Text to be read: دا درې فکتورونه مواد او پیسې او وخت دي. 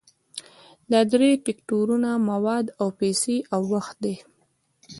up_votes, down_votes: 1, 2